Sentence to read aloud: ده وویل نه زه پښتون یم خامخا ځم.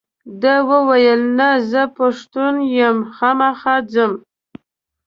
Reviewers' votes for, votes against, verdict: 2, 0, accepted